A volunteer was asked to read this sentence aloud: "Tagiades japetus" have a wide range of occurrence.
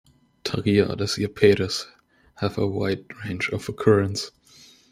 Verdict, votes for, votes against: accepted, 2, 0